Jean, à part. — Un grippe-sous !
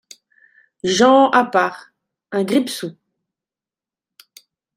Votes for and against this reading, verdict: 2, 0, accepted